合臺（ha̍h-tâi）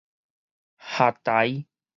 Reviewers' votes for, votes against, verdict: 4, 0, accepted